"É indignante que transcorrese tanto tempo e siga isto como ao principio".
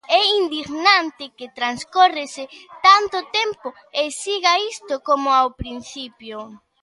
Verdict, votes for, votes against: accepted, 2, 1